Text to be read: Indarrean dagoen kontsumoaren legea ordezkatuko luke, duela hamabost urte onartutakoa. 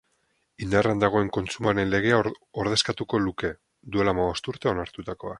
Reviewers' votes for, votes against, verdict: 2, 2, rejected